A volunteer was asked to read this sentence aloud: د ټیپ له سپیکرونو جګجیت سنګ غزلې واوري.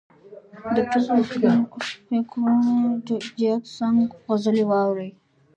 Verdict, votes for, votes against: rejected, 1, 3